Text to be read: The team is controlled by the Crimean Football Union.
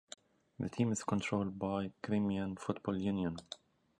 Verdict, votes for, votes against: rejected, 0, 3